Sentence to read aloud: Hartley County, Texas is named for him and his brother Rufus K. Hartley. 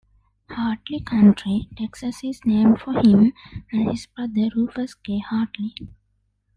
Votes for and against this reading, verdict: 0, 2, rejected